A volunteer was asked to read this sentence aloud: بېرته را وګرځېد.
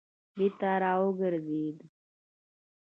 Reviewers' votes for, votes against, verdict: 2, 0, accepted